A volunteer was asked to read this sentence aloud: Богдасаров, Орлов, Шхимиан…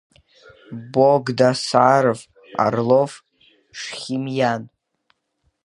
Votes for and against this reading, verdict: 3, 0, accepted